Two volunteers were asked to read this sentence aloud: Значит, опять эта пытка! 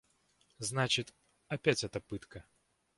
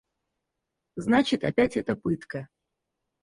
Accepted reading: first